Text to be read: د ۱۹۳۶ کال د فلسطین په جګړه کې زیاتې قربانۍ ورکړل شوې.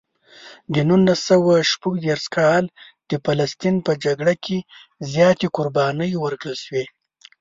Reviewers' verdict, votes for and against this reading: rejected, 0, 2